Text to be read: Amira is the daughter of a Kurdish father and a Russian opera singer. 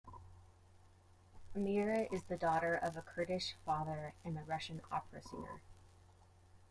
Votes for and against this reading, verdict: 2, 1, accepted